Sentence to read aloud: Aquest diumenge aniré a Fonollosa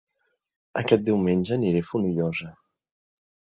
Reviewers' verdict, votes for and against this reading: accepted, 2, 0